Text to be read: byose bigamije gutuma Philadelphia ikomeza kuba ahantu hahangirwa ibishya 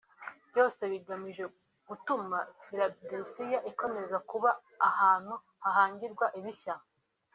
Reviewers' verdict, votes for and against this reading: accepted, 2, 0